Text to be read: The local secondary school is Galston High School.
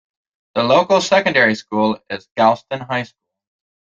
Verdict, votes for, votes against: accepted, 2, 1